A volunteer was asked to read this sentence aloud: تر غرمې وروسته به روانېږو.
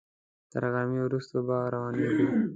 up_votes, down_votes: 2, 0